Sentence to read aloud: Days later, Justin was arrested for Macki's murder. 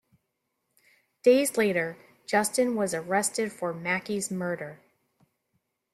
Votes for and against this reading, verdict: 2, 0, accepted